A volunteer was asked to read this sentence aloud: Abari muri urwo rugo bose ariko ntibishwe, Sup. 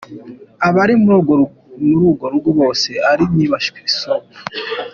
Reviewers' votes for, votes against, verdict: 0, 2, rejected